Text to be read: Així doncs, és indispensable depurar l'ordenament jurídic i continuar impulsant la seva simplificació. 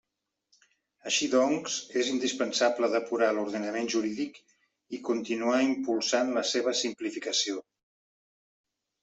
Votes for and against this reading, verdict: 0, 2, rejected